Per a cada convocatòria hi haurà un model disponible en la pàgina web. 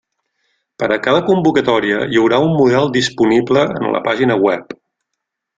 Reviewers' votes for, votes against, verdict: 3, 0, accepted